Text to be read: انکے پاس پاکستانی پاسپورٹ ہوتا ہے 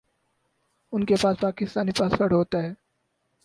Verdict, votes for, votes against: accepted, 4, 0